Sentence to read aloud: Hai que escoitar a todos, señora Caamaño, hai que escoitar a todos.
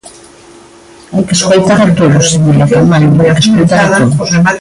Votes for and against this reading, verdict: 0, 2, rejected